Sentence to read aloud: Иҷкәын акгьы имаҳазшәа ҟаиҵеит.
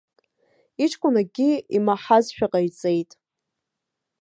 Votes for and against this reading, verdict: 2, 0, accepted